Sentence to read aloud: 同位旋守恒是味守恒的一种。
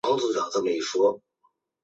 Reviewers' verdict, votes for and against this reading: rejected, 1, 3